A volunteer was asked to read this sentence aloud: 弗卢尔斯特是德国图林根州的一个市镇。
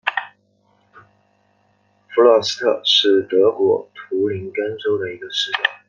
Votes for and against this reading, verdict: 2, 0, accepted